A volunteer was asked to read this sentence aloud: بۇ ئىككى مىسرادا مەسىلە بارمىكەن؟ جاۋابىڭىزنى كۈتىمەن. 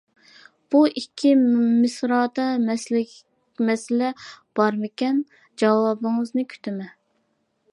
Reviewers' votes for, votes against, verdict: 1, 2, rejected